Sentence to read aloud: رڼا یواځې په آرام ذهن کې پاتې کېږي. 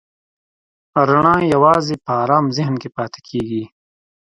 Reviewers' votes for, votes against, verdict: 2, 0, accepted